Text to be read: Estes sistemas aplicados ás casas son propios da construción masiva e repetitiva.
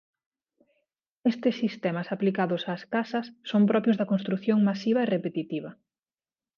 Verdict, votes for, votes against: accepted, 2, 0